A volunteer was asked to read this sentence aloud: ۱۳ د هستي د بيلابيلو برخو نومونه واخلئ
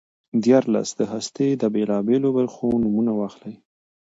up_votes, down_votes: 0, 2